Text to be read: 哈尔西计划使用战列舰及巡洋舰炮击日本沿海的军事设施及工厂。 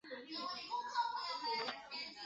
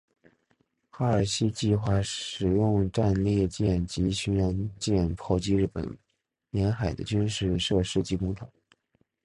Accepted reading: second